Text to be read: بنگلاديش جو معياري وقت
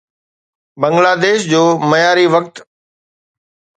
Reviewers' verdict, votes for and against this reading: accepted, 2, 0